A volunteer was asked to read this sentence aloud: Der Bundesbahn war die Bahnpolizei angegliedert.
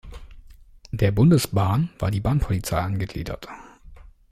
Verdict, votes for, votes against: accepted, 2, 0